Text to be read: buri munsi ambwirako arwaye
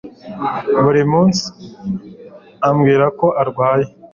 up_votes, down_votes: 2, 0